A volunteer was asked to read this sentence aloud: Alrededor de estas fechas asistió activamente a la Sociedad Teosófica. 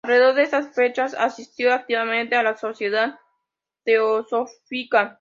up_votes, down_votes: 2, 0